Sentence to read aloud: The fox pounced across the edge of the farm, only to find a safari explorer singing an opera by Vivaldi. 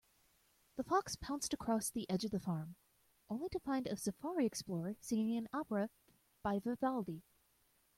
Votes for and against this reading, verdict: 1, 2, rejected